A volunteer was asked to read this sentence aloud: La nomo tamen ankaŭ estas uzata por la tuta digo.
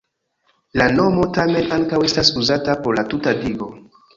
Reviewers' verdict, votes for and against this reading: accepted, 2, 1